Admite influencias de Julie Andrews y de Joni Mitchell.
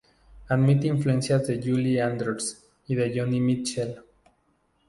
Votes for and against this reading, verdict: 0, 2, rejected